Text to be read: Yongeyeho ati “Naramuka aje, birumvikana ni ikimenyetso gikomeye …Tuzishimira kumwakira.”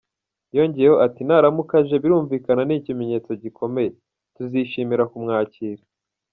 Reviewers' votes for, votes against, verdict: 1, 2, rejected